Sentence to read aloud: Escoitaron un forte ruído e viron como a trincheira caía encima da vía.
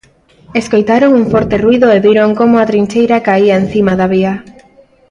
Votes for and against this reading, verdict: 1, 2, rejected